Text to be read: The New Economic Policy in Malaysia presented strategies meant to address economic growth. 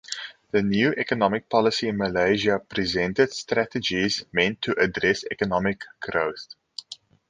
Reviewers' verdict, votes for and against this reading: accepted, 6, 0